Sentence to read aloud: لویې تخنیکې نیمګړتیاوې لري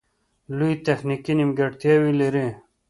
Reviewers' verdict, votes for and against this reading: accepted, 2, 0